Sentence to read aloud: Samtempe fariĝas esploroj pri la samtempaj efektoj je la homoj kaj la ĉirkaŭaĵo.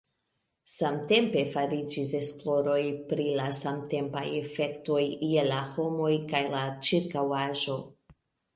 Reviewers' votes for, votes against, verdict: 1, 2, rejected